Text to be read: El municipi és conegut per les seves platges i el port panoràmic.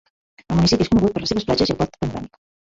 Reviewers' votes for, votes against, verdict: 0, 2, rejected